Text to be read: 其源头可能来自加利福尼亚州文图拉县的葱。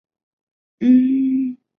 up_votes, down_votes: 0, 3